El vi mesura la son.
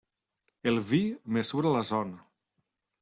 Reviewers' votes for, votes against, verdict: 0, 2, rejected